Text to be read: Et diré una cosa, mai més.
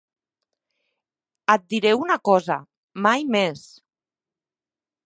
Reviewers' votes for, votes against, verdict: 3, 0, accepted